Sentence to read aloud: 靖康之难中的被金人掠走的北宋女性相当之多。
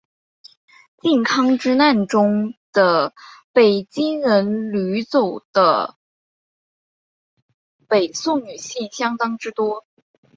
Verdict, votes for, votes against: rejected, 1, 2